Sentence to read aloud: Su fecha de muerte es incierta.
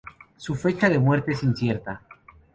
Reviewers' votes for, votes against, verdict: 2, 0, accepted